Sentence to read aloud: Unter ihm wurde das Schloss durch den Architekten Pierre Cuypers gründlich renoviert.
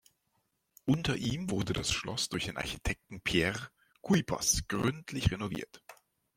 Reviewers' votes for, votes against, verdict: 1, 2, rejected